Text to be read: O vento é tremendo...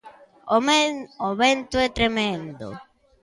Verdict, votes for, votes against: rejected, 0, 2